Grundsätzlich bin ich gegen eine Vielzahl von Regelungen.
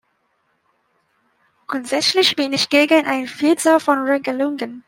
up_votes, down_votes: 0, 2